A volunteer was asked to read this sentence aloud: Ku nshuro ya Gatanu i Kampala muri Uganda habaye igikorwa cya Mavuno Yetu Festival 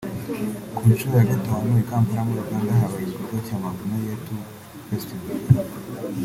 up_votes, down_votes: 2, 0